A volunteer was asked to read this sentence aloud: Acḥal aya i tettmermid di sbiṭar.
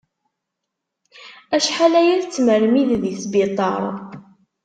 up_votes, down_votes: 2, 0